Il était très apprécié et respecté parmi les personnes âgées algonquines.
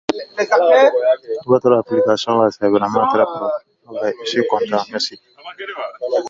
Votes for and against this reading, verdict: 0, 2, rejected